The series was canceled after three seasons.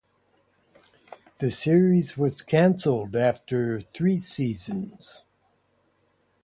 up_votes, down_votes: 2, 0